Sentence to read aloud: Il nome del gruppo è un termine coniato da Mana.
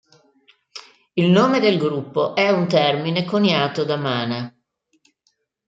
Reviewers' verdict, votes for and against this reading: accepted, 2, 0